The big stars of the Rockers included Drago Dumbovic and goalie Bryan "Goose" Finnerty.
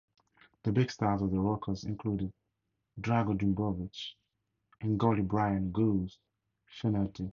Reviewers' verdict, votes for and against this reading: accepted, 4, 0